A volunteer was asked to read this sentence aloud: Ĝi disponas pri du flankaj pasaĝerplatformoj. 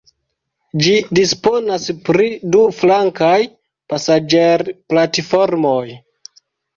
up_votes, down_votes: 2, 0